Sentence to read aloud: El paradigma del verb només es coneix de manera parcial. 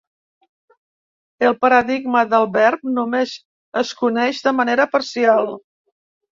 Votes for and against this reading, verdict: 2, 0, accepted